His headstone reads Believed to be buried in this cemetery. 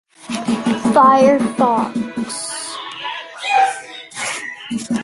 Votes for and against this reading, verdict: 0, 2, rejected